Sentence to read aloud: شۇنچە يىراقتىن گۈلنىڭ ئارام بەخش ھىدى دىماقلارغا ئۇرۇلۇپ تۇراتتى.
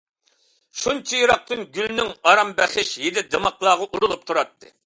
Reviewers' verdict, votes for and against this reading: accepted, 2, 0